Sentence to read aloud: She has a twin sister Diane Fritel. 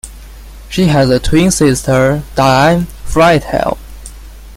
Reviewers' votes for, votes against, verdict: 2, 1, accepted